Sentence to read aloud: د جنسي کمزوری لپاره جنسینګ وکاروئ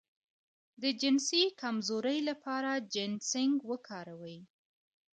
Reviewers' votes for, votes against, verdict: 2, 0, accepted